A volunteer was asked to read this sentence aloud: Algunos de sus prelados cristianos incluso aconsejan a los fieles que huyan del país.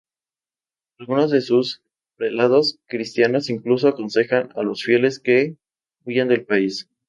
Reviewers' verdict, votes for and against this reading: rejected, 0, 2